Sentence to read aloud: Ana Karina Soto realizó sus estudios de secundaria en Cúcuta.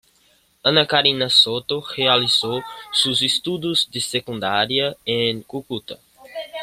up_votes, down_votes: 1, 2